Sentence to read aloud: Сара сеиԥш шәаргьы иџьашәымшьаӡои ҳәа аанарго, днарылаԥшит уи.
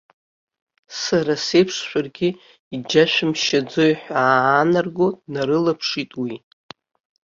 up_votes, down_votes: 2, 0